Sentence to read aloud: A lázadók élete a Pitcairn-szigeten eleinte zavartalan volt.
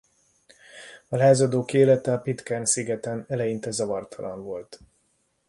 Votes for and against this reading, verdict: 2, 1, accepted